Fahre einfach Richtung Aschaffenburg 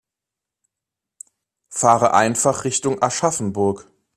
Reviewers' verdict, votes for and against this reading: accepted, 2, 0